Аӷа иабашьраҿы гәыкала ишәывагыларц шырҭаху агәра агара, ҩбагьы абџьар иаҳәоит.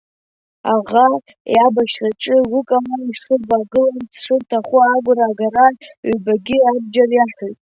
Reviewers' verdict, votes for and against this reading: rejected, 0, 2